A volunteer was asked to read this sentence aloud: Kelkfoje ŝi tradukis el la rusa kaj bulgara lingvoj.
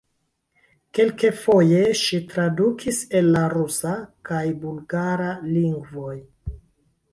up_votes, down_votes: 3, 2